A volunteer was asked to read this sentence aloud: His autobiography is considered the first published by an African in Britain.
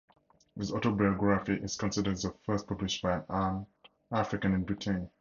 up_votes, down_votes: 4, 0